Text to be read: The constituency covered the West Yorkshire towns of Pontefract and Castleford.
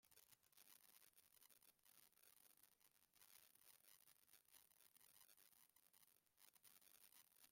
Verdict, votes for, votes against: rejected, 0, 2